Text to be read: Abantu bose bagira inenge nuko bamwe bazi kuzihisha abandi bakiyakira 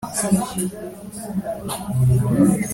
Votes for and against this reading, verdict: 1, 2, rejected